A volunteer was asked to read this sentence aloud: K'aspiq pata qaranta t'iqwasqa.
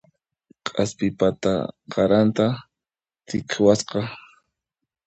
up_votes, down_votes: 0, 2